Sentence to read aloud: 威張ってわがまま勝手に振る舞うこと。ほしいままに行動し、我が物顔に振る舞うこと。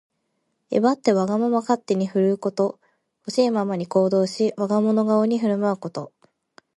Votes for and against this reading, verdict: 0, 2, rejected